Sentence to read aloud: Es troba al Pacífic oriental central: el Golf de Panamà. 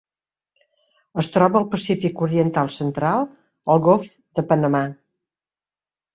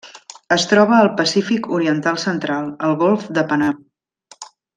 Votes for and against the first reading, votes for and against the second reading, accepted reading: 2, 0, 0, 2, first